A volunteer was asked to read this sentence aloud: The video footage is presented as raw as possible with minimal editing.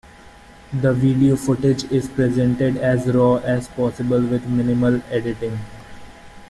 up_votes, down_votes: 2, 0